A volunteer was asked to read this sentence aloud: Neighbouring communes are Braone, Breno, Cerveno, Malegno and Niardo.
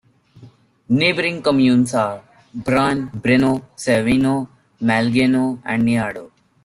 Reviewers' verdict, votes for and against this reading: accepted, 2, 1